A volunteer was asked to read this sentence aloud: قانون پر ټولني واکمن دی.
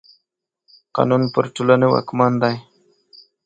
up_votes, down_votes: 4, 0